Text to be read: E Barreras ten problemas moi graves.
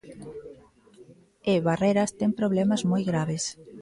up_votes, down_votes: 0, 2